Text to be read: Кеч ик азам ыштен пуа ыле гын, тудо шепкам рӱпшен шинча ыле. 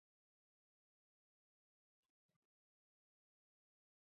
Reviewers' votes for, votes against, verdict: 1, 2, rejected